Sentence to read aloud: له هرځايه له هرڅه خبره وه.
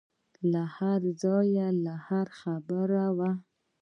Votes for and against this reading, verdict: 0, 2, rejected